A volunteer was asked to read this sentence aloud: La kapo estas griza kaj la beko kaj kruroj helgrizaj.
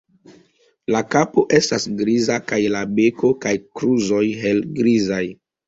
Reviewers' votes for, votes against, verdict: 2, 0, accepted